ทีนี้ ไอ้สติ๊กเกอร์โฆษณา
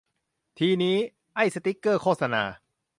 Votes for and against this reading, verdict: 2, 0, accepted